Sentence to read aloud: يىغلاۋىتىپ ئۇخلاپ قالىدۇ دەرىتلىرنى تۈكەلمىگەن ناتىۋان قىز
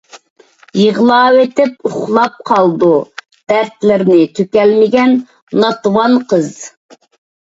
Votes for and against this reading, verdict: 2, 0, accepted